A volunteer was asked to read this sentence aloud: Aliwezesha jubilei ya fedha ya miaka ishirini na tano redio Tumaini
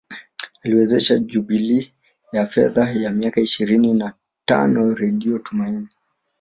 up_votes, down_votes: 2, 1